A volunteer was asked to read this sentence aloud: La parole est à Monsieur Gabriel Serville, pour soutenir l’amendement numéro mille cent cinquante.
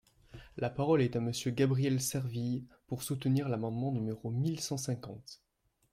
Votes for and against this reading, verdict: 2, 0, accepted